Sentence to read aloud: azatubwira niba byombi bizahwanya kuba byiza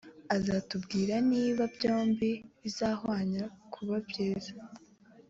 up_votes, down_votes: 2, 0